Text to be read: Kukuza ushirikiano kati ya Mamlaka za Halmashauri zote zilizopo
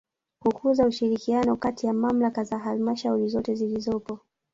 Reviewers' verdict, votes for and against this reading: rejected, 0, 2